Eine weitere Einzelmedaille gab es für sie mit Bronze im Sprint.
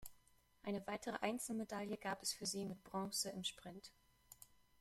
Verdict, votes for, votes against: accepted, 2, 0